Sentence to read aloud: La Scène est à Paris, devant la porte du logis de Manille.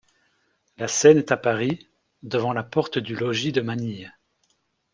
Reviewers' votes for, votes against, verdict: 2, 0, accepted